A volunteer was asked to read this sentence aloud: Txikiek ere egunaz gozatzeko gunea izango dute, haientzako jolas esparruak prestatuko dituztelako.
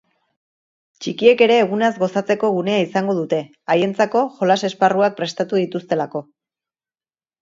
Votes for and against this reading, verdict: 2, 3, rejected